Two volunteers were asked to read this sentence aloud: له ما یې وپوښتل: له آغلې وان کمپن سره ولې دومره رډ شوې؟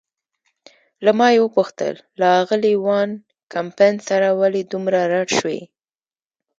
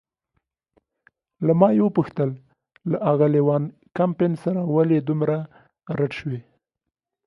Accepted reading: second